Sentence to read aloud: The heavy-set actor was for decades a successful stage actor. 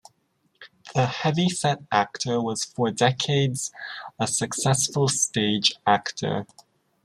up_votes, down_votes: 2, 0